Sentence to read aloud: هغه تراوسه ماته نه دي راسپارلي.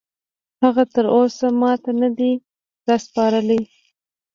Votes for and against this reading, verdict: 1, 2, rejected